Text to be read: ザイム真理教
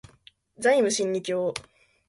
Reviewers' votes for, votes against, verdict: 2, 0, accepted